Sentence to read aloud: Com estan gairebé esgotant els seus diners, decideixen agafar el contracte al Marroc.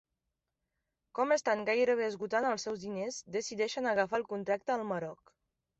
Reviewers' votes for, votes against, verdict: 0, 2, rejected